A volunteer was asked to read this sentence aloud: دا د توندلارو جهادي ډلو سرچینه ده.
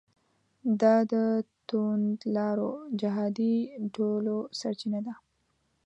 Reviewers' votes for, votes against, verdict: 1, 2, rejected